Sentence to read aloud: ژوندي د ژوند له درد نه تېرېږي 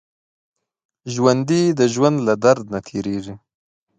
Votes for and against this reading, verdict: 2, 0, accepted